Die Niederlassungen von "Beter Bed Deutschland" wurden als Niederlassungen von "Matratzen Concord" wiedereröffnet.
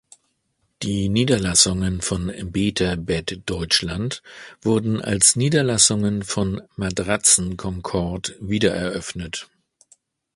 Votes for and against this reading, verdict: 2, 0, accepted